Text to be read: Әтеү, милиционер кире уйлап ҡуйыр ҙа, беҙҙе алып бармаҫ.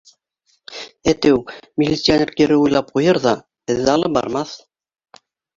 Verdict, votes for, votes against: rejected, 0, 2